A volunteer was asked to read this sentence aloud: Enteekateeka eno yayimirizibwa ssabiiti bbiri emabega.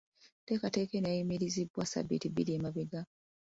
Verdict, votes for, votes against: accepted, 2, 0